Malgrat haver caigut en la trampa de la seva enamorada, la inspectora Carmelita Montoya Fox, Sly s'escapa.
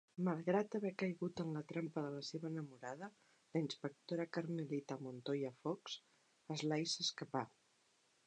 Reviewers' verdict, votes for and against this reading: accepted, 2, 0